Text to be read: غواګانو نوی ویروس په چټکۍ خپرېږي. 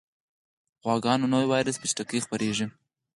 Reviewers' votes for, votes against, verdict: 6, 2, accepted